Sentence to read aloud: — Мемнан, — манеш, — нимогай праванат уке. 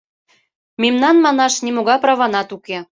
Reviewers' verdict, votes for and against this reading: accepted, 2, 1